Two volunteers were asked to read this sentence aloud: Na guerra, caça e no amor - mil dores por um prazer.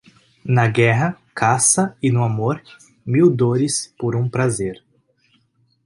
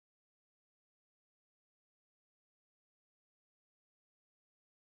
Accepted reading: first